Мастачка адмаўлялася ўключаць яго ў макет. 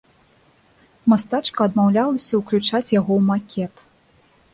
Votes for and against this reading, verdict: 2, 0, accepted